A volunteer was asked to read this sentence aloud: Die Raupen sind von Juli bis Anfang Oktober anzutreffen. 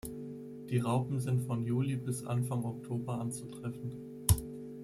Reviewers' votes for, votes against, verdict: 2, 0, accepted